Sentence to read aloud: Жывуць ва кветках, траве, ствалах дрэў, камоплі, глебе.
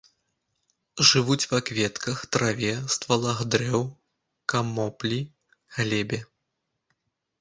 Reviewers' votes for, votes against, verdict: 2, 0, accepted